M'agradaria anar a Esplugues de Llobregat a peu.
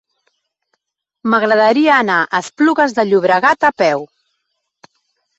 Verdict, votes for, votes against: accepted, 3, 0